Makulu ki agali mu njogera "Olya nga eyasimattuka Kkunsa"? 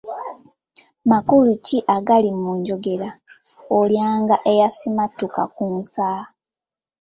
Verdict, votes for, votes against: rejected, 0, 2